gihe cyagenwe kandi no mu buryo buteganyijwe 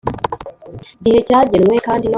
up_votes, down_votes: 1, 3